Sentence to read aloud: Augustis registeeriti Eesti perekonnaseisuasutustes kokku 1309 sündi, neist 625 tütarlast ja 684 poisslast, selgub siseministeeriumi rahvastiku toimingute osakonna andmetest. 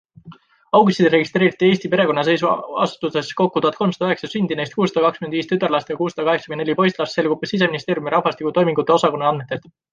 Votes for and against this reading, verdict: 0, 2, rejected